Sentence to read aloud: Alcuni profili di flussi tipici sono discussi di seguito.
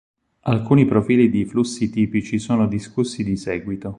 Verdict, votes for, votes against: accepted, 4, 0